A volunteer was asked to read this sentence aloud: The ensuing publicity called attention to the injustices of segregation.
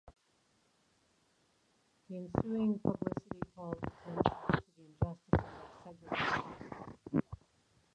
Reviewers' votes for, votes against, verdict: 0, 2, rejected